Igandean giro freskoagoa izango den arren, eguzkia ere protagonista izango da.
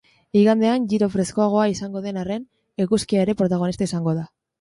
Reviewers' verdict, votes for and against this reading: accepted, 2, 0